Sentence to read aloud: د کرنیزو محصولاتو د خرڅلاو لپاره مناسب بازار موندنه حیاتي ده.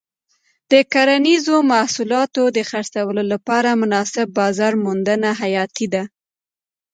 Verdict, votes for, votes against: accepted, 2, 0